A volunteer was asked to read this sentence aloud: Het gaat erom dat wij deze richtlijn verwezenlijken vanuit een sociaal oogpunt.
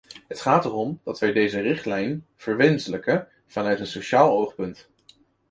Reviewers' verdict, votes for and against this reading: rejected, 0, 2